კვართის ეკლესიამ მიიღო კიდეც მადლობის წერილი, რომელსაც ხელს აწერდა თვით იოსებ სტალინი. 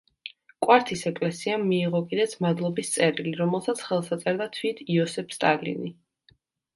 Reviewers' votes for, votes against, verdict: 2, 0, accepted